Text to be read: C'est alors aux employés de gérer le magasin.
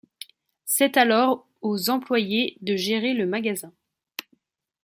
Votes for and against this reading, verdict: 2, 0, accepted